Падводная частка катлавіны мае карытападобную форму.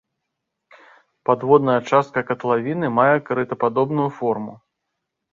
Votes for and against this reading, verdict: 3, 0, accepted